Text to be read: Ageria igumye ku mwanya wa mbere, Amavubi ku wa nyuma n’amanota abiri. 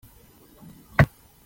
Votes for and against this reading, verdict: 0, 2, rejected